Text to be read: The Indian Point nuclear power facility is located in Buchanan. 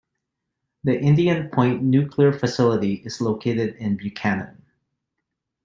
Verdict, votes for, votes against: rejected, 0, 2